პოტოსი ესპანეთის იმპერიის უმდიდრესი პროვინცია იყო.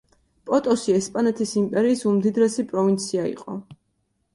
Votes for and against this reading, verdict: 2, 0, accepted